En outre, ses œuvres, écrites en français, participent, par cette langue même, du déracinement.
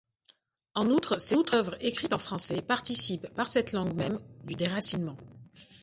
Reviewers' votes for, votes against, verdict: 0, 2, rejected